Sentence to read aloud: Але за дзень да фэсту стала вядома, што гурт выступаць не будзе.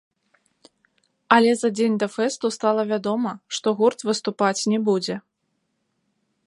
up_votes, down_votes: 0, 2